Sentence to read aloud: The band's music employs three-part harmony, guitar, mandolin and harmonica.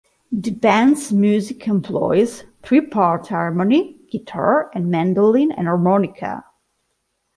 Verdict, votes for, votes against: rejected, 1, 2